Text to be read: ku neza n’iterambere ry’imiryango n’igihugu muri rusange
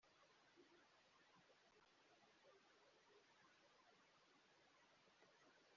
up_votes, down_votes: 0, 2